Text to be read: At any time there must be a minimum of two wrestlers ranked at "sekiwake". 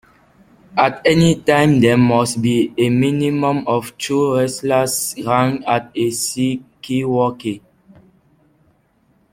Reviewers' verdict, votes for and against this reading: rejected, 0, 2